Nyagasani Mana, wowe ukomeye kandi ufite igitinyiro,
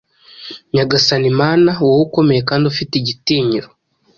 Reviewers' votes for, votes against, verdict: 2, 0, accepted